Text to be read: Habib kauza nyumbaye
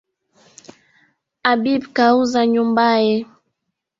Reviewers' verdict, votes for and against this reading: accepted, 2, 1